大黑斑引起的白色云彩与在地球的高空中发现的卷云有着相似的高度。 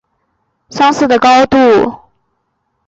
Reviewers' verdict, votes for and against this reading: accepted, 4, 3